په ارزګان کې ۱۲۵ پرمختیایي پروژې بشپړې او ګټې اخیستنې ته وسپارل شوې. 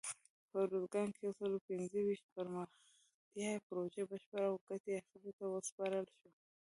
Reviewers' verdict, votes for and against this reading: rejected, 0, 2